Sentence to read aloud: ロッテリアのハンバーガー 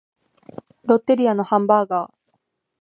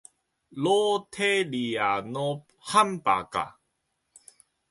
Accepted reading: first